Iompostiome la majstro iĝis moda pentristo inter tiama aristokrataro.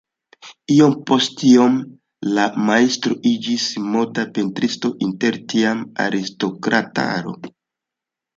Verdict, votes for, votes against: accepted, 2, 0